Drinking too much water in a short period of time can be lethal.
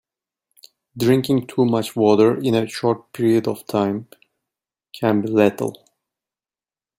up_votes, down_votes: 1, 2